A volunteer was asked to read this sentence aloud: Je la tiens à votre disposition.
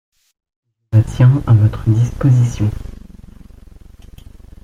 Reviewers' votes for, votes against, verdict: 0, 2, rejected